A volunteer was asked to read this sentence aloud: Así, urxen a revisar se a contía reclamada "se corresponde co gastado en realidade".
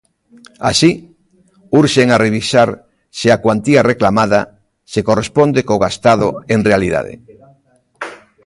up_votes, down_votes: 0, 2